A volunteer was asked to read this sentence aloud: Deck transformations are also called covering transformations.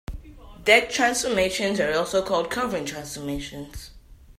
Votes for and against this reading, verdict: 2, 0, accepted